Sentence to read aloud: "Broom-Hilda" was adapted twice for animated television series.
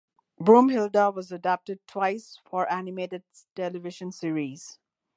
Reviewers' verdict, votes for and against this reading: rejected, 1, 2